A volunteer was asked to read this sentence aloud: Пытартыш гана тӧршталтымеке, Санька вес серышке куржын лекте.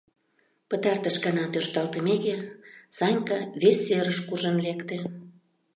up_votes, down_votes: 0, 2